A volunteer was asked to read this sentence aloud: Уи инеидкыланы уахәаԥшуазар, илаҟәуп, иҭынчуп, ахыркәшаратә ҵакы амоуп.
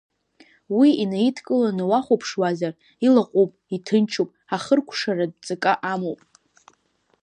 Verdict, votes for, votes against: accepted, 2, 0